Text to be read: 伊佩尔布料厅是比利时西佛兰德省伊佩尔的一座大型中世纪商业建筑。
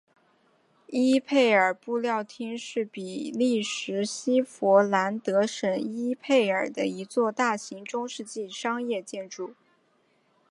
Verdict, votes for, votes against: accepted, 5, 0